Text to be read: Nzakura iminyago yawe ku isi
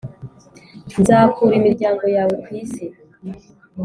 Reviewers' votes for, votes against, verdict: 1, 2, rejected